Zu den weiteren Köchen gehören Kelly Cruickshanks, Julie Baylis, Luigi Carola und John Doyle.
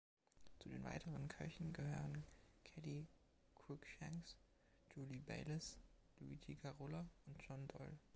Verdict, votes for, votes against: accepted, 2, 0